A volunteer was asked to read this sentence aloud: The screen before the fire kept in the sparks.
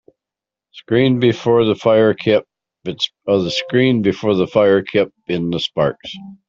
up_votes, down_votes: 0, 2